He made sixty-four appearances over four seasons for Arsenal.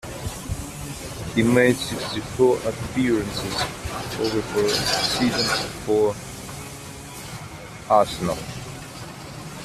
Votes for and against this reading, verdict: 2, 1, accepted